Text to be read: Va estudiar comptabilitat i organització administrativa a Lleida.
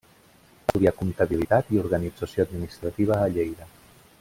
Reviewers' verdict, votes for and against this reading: rejected, 1, 2